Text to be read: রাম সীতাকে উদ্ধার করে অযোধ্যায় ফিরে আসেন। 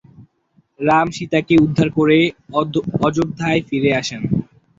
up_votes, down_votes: 2, 4